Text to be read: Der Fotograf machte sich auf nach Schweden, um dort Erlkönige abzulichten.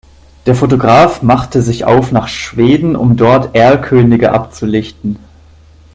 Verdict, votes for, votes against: accepted, 2, 0